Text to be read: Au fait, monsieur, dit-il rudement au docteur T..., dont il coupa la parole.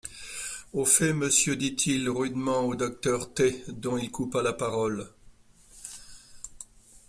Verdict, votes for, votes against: accepted, 2, 0